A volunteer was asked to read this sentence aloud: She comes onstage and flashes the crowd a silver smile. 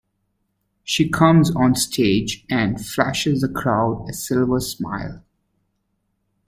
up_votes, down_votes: 2, 0